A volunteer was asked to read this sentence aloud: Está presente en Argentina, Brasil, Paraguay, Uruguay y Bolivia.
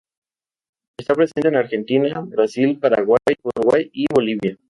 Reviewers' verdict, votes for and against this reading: accepted, 2, 0